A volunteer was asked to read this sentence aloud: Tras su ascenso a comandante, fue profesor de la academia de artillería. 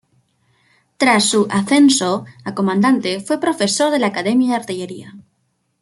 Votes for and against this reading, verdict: 0, 2, rejected